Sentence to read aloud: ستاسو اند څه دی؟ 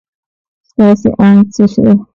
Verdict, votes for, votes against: rejected, 1, 2